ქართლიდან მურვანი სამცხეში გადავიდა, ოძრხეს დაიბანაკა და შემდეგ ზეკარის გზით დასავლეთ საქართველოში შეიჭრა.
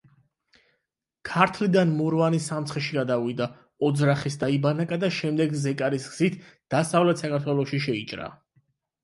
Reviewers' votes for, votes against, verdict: 0, 8, rejected